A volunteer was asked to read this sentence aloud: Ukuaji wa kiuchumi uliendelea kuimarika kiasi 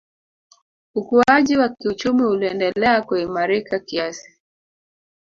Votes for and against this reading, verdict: 2, 3, rejected